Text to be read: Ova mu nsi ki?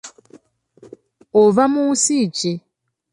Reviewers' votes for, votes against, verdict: 2, 0, accepted